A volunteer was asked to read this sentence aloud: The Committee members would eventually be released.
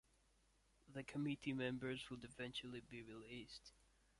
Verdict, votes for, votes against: rejected, 1, 2